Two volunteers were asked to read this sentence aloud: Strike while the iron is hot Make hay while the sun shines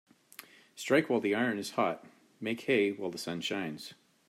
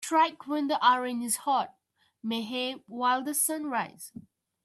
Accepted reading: first